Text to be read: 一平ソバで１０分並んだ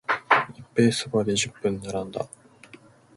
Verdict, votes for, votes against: rejected, 0, 2